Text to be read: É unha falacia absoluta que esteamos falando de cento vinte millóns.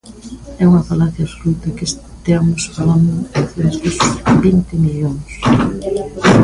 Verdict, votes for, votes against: rejected, 1, 2